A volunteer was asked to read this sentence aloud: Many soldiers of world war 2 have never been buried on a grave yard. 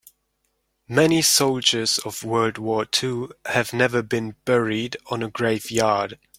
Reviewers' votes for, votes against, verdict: 0, 2, rejected